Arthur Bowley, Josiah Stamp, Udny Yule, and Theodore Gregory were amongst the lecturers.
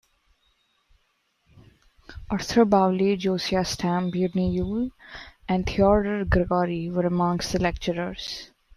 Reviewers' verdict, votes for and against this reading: accepted, 2, 0